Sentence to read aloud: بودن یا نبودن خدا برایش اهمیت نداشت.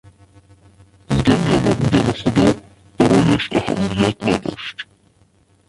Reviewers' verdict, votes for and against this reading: rejected, 0, 2